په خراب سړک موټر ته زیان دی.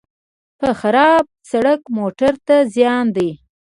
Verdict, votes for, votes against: rejected, 1, 2